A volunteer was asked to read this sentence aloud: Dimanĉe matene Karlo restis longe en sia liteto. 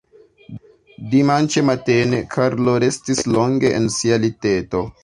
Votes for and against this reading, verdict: 2, 0, accepted